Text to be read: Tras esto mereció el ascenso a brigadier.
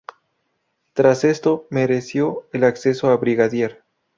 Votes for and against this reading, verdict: 0, 2, rejected